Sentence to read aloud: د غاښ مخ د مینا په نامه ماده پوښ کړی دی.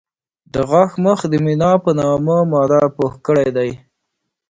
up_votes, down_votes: 2, 0